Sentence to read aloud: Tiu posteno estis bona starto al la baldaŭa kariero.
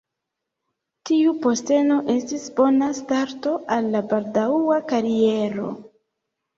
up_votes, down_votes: 2, 0